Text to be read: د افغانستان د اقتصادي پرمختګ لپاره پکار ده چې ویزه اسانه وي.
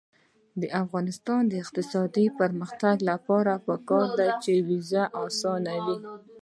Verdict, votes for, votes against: rejected, 1, 2